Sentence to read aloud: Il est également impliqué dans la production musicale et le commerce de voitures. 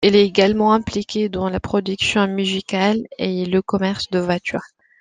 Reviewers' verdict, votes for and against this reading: accepted, 2, 0